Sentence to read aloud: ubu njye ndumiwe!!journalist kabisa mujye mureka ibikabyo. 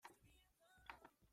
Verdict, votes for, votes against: rejected, 0, 2